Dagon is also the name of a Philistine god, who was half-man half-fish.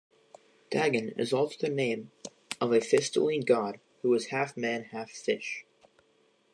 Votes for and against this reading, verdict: 1, 2, rejected